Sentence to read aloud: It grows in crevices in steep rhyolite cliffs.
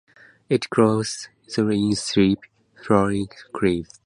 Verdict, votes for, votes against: rejected, 0, 2